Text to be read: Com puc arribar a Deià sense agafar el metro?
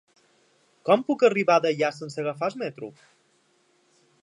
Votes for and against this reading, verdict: 2, 1, accepted